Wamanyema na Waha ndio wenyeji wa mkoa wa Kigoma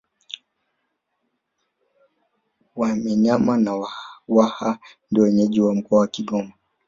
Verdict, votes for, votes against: rejected, 0, 3